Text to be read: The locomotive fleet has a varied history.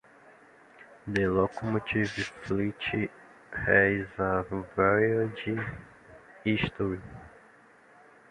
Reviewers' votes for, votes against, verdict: 2, 1, accepted